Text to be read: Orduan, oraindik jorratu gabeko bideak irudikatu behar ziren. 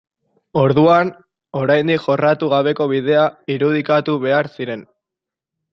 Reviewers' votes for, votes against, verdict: 0, 2, rejected